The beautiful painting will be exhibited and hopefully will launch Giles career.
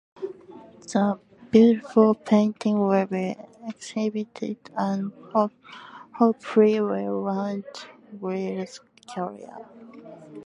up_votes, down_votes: 0, 2